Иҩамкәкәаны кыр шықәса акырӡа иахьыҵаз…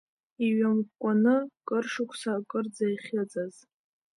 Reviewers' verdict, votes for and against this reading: accepted, 2, 0